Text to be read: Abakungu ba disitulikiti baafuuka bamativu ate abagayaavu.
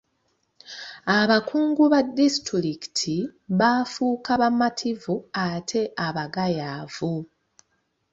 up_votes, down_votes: 2, 0